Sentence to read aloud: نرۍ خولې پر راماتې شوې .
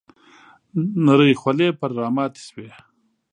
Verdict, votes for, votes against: accepted, 2, 0